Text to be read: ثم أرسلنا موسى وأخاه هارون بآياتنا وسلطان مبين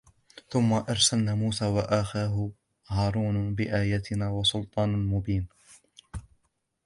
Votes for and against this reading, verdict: 2, 1, accepted